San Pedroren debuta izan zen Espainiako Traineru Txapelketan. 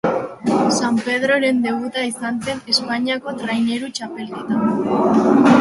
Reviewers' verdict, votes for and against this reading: rejected, 0, 2